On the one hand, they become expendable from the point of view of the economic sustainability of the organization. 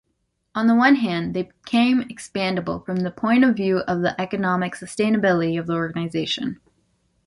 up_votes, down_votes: 1, 2